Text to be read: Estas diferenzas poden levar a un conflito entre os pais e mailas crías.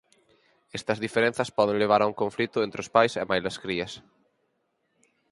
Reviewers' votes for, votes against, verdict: 4, 0, accepted